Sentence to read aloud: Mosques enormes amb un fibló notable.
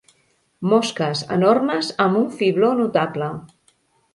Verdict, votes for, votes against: accepted, 3, 0